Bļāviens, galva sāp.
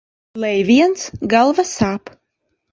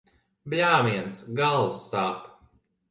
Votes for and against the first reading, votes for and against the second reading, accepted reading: 0, 2, 2, 0, second